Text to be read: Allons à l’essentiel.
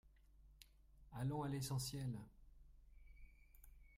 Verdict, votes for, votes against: rejected, 1, 2